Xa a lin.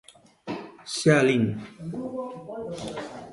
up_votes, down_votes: 2, 0